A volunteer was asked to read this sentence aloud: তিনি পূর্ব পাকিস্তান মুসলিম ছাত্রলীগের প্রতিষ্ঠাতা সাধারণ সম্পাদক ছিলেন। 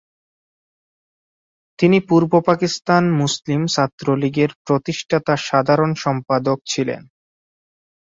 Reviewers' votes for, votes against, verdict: 2, 0, accepted